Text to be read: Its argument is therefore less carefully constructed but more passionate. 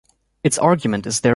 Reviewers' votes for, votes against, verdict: 1, 2, rejected